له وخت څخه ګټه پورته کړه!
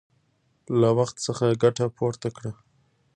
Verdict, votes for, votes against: accepted, 2, 0